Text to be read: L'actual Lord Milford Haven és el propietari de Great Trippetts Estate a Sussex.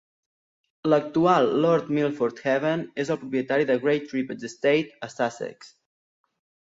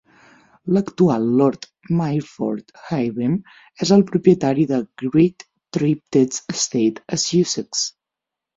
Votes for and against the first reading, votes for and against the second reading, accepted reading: 2, 0, 0, 6, first